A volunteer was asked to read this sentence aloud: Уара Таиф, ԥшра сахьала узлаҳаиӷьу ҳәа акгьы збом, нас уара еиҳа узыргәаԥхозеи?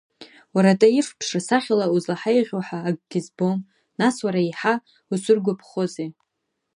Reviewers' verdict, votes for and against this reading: rejected, 1, 2